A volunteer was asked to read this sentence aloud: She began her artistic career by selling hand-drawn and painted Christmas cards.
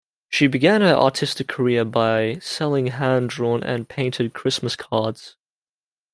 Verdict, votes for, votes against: accepted, 2, 0